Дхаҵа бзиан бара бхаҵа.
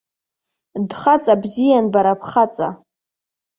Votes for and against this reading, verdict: 2, 0, accepted